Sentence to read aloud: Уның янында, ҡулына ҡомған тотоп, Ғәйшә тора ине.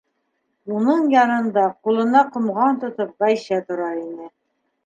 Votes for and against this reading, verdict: 3, 0, accepted